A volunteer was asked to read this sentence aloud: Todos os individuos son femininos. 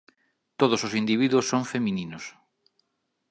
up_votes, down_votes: 2, 0